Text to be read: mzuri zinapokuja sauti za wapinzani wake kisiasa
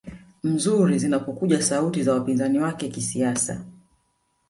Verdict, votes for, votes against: accepted, 3, 1